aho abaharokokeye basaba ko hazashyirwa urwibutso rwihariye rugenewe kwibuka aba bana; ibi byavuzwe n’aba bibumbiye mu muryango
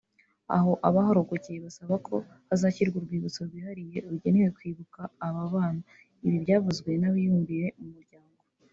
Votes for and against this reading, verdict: 0, 2, rejected